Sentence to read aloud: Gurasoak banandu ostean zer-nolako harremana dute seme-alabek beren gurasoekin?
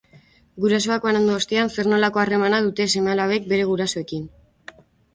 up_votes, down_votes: 0, 2